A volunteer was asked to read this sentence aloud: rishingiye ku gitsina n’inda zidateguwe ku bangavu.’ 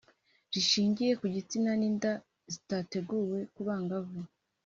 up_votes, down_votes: 3, 0